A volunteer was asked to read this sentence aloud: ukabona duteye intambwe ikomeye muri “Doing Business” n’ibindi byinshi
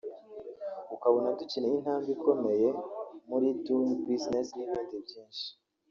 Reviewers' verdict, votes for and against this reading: rejected, 1, 3